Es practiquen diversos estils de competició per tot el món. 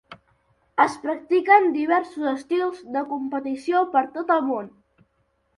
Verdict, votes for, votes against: accepted, 4, 0